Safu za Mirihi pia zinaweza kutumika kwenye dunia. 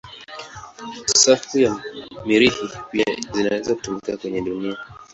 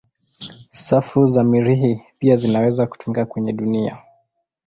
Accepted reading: second